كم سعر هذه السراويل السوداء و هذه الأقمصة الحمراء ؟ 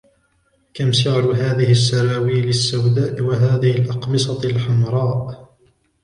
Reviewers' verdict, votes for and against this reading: rejected, 1, 2